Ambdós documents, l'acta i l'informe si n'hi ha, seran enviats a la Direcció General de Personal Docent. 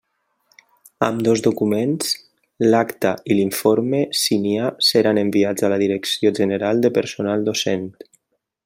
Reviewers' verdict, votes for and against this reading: accepted, 2, 0